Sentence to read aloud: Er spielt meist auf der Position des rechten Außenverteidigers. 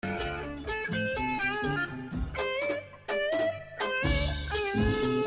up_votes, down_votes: 0, 2